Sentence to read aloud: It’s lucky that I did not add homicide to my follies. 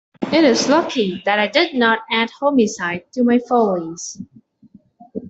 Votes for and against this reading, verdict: 0, 2, rejected